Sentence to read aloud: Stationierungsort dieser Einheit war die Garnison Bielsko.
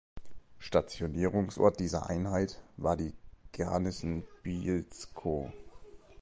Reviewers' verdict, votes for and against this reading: rejected, 0, 2